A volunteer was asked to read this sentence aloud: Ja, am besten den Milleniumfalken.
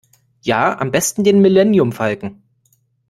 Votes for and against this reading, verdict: 1, 2, rejected